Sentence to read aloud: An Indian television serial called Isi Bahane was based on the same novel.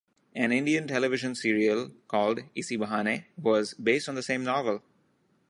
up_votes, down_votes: 2, 0